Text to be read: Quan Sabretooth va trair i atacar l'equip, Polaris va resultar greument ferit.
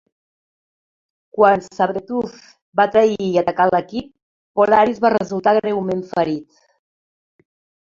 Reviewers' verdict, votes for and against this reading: rejected, 1, 2